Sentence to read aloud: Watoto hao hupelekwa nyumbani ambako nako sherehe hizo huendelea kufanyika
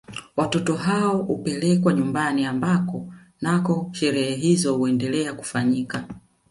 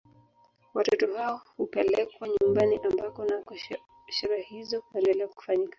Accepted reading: first